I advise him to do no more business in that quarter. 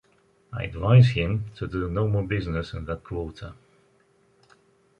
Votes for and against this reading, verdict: 2, 0, accepted